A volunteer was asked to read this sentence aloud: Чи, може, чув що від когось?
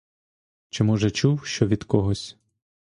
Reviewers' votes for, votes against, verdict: 2, 0, accepted